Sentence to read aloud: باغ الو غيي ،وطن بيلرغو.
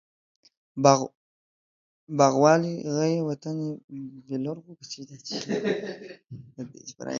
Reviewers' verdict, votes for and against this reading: rejected, 0, 3